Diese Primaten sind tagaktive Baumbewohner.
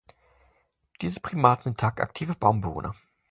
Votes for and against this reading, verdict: 0, 2, rejected